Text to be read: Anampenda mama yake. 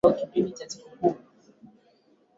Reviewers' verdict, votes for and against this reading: rejected, 0, 2